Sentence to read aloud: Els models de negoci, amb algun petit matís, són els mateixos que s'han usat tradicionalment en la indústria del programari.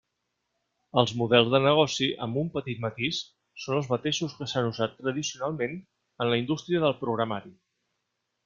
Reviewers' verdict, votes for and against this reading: rejected, 1, 2